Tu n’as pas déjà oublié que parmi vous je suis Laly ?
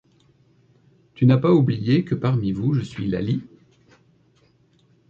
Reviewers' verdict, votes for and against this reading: rejected, 1, 2